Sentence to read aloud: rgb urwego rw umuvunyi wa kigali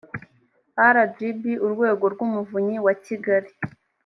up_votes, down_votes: 3, 0